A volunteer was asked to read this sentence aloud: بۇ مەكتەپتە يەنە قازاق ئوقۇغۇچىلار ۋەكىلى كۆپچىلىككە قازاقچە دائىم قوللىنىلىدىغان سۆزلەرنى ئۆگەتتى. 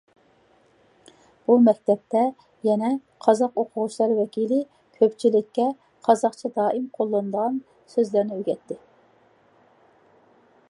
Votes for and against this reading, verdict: 2, 0, accepted